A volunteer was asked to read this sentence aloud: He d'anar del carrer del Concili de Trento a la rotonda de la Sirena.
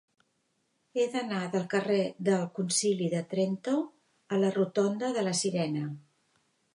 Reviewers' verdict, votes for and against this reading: accepted, 4, 0